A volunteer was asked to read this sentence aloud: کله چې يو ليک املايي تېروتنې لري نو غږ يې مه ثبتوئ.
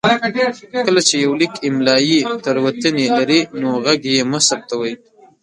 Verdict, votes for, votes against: rejected, 1, 2